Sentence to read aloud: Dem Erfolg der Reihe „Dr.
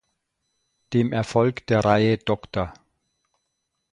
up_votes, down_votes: 2, 0